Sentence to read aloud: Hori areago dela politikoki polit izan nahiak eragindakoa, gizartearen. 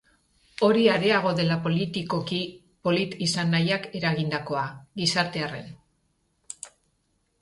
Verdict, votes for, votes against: rejected, 0, 2